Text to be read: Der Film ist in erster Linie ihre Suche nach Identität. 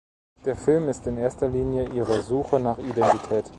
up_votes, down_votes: 2, 0